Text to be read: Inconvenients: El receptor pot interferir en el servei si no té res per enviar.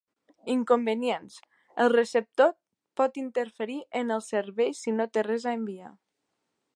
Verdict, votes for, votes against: accepted, 2, 1